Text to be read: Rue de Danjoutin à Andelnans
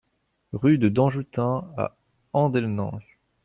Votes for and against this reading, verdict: 2, 1, accepted